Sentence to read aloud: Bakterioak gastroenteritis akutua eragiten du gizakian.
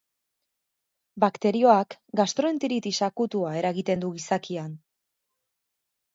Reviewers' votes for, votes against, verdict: 2, 0, accepted